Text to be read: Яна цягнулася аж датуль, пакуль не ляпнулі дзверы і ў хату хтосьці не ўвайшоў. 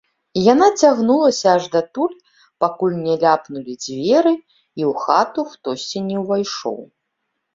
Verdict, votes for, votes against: accepted, 3, 2